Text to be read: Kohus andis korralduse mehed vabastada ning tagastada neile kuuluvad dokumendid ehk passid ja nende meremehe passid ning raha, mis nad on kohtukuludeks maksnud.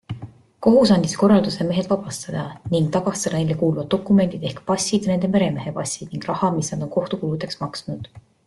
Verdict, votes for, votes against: accepted, 2, 0